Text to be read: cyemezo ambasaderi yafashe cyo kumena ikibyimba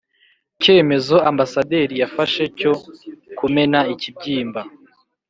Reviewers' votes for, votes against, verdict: 4, 0, accepted